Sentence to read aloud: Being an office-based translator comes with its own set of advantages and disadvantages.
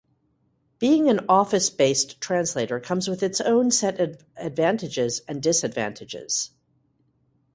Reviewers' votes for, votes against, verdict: 2, 0, accepted